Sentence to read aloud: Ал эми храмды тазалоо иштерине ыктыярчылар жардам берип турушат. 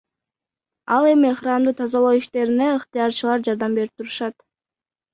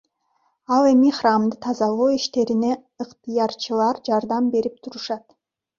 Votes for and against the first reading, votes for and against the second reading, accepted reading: 1, 2, 2, 0, second